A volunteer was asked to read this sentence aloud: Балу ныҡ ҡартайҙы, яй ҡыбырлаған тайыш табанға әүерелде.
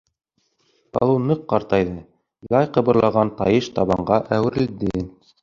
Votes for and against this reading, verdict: 2, 1, accepted